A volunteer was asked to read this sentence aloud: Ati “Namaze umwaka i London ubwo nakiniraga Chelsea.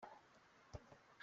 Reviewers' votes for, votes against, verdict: 0, 2, rejected